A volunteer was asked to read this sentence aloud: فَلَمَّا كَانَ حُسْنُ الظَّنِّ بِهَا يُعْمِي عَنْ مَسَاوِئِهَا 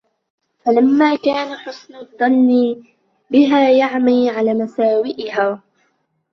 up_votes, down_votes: 1, 2